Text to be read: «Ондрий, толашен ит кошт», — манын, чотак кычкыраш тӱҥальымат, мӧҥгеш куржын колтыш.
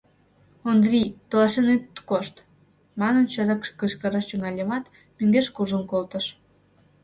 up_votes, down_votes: 0, 2